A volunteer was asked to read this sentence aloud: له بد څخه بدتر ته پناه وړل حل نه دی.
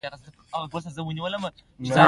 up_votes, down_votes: 2, 1